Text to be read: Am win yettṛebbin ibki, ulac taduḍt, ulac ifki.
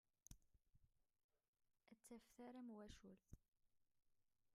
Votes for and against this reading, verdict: 0, 2, rejected